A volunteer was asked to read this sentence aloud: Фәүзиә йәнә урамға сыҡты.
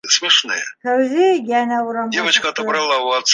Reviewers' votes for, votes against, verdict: 1, 2, rejected